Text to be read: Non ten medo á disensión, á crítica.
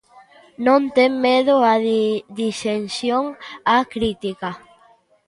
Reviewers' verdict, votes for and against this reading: rejected, 0, 2